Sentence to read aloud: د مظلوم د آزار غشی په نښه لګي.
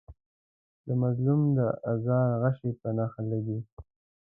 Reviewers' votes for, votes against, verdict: 0, 2, rejected